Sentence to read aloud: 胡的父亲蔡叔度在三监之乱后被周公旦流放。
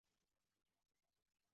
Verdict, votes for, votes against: rejected, 2, 3